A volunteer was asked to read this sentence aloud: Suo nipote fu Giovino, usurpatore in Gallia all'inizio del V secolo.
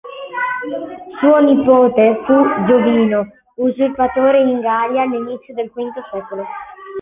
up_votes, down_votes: 1, 2